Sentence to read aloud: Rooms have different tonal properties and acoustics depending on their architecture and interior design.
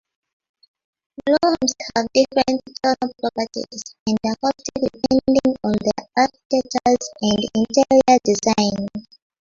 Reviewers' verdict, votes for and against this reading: rejected, 0, 2